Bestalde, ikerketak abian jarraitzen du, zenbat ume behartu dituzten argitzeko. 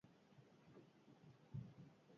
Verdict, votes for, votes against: rejected, 0, 2